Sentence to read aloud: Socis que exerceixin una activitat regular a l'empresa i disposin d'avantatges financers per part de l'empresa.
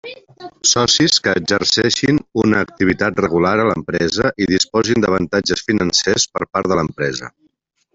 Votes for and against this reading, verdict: 1, 2, rejected